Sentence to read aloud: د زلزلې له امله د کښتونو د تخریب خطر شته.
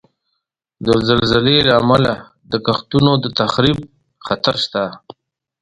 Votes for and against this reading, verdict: 2, 0, accepted